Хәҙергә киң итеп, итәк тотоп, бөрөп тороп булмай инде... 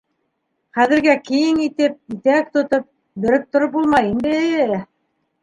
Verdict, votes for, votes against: accepted, 2, 1